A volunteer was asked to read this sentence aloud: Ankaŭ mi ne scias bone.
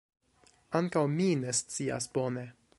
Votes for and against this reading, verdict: 2, 0, accepted